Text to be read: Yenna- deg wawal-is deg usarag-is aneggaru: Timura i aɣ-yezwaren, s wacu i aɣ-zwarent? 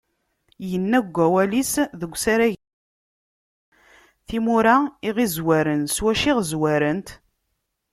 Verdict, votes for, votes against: rejected, 1, 2